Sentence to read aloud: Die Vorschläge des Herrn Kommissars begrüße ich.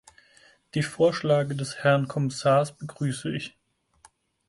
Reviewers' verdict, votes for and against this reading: rejected, 0, 4